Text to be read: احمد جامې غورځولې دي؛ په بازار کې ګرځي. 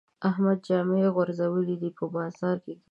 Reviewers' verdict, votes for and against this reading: rejected, 0, 3